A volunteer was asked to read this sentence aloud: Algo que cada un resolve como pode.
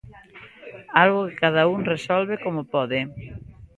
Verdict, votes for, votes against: accepted, 2, 0